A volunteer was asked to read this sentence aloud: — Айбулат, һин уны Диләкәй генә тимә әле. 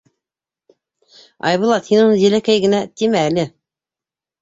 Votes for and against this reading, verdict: 2, 0, accepted